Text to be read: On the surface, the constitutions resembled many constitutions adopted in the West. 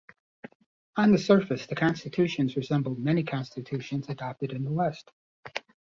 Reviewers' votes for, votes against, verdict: 2, 0, accepted